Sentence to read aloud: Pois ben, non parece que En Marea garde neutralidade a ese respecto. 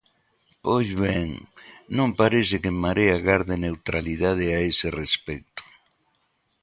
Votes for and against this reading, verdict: 2, 0, accepted